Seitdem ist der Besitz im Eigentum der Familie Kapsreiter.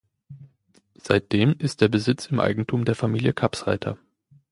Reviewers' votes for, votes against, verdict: 2, 0, accepted